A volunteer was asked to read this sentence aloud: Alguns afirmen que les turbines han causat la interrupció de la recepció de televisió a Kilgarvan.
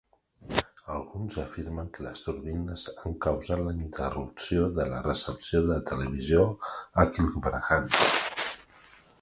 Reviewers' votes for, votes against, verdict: 1, 2, rejected